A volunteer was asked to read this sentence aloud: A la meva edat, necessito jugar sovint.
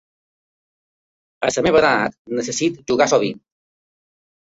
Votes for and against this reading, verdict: 2, 0, accepted